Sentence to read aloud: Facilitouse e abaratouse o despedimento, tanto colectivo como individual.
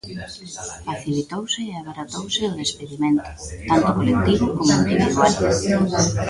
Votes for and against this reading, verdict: 0, 2, rejected